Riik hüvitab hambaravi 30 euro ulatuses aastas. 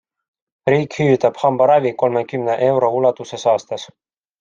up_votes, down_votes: 0, 2